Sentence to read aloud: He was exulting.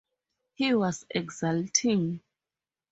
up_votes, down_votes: 4, 0